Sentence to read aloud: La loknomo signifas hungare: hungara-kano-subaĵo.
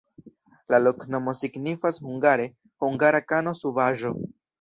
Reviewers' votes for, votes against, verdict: 2, 1, accepted